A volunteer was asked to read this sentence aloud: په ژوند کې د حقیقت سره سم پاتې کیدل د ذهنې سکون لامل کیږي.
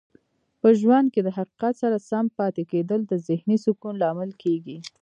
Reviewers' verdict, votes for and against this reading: accepted, 3, 0